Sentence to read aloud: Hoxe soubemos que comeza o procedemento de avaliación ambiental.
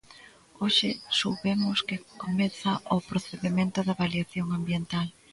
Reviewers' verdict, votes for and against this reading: accepted, 2, 0